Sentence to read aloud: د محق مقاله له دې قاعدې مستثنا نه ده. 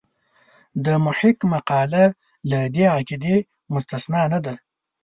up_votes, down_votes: 2, 0